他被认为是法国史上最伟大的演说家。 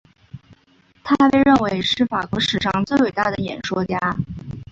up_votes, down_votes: 2, 0